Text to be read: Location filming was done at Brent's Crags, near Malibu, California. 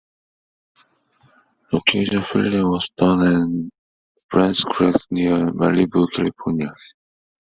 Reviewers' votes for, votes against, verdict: 0, 2, rejected